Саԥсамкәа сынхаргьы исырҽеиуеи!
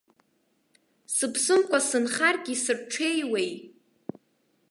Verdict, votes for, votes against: rejected, 1, 2